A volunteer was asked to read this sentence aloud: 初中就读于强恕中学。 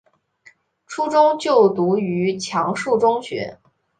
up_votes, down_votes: 4, 0